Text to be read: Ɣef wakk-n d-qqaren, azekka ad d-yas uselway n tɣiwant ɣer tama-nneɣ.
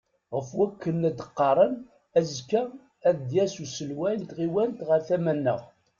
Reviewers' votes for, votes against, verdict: 2, 0, accepted